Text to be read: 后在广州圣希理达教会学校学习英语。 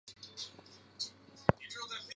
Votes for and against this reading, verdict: 0, 2, rejected